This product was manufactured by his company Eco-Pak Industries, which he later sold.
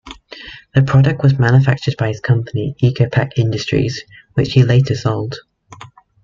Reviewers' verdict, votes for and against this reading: rejected, 1, 2